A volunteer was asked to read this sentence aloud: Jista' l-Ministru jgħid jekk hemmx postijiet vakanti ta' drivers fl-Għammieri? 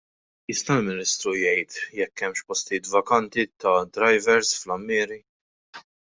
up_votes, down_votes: 2, 0